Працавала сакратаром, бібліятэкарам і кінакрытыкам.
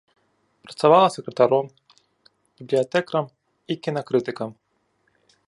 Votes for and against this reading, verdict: 2, 1, accepted